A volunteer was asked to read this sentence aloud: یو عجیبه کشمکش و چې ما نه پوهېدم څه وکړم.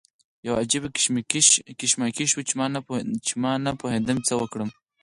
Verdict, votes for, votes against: accepted, 4, 2